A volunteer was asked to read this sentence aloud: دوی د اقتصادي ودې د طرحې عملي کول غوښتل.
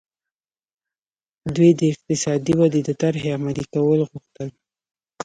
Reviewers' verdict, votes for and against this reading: rejected, 1, 2